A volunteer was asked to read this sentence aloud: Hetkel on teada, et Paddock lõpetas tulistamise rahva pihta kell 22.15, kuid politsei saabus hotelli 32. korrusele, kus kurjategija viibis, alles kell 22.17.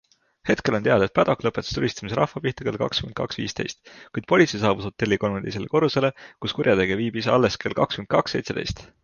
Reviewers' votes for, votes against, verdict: 0, 2, rejected